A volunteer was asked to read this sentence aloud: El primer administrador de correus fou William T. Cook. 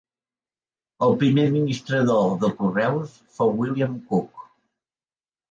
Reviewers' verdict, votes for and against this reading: rejected, 2, 3